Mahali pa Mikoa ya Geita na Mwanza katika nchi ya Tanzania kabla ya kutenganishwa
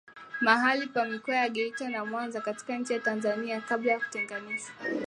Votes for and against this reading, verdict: 3, 0, accepted